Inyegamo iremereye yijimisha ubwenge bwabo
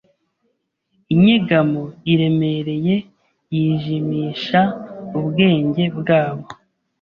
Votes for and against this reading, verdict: 2, 0, accepted